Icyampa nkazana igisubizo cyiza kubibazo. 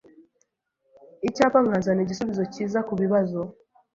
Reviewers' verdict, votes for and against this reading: rejected, 0, 2